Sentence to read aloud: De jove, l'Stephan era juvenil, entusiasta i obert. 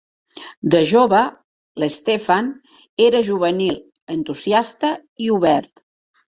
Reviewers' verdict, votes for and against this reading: accepted, 2, 0